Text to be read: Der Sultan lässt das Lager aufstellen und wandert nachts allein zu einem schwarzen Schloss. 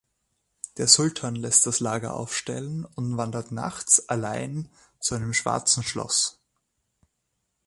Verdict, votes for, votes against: accepted, 2, 0